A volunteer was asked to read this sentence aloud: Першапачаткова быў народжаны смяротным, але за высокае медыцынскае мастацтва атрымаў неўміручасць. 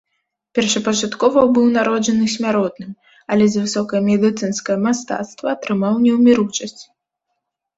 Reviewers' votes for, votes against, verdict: 2, 0, accepted